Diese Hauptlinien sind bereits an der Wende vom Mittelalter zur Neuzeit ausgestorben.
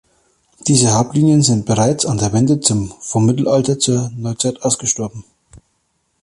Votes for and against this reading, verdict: 4, 6, rejected